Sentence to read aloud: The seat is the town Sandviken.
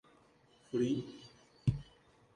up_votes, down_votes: 0, 2